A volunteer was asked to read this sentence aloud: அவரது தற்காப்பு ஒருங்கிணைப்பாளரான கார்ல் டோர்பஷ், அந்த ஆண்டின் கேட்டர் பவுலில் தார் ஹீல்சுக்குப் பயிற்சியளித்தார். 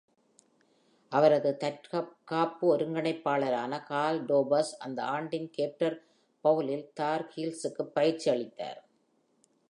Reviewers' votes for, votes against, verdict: 2, 0, accepted